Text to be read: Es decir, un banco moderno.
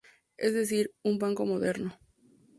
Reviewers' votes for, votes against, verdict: 2, 0, accepted